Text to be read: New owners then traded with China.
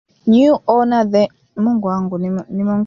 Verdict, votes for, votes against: rejected, 0, 2